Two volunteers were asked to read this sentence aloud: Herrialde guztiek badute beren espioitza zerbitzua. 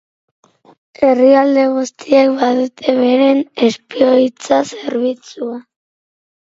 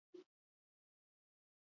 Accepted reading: first